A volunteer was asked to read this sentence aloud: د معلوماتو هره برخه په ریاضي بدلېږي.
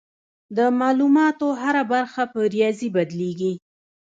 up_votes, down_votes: 2, 1